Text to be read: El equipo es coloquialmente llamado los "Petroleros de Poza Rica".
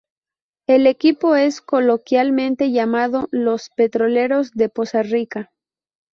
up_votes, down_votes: 2, 2